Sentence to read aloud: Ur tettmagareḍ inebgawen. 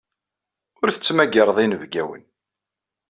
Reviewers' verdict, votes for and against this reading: accepted, 2, 0